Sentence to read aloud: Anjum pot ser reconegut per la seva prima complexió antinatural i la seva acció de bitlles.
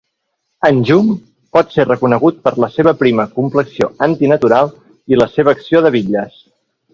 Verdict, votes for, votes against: accepted, 2, 0